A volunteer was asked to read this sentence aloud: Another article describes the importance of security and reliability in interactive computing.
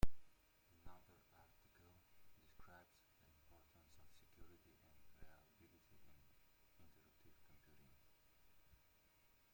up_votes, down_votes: 0, 2